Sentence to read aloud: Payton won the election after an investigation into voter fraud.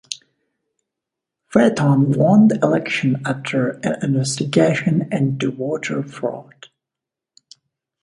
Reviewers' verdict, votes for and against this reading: rejected, 1, 2